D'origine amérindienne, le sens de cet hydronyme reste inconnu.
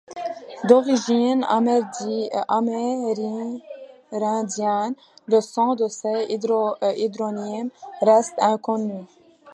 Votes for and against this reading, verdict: 1, 2, rejected